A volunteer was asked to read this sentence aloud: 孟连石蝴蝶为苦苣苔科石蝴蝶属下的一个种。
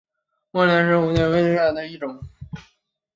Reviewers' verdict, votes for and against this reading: accepted, 2, 1